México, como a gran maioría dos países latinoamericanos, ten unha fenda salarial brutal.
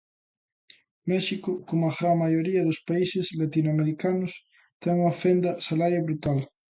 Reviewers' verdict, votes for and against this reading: rejected, 0, 2